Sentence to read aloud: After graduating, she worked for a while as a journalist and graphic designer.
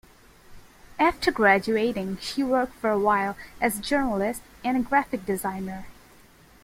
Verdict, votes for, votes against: accepted, 2, 0